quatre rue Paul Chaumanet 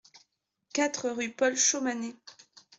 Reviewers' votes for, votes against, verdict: 2, 0, accepted